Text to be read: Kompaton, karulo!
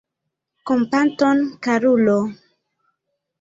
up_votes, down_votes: 1, 2